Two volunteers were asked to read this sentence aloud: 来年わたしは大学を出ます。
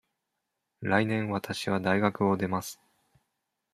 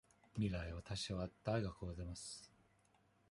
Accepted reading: first